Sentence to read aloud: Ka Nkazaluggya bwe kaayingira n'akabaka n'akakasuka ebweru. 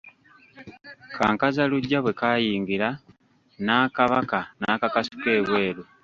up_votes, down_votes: 1, 2